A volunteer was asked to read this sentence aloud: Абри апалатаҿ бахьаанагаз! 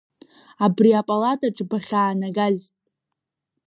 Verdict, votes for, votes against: accepted, 2, 0